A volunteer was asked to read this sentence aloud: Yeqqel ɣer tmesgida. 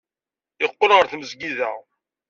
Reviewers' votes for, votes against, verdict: 2, 0, accepted